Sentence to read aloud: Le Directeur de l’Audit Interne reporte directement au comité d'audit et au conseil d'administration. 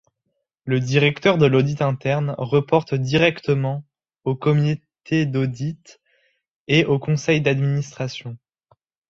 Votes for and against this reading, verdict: 2, 1, accepted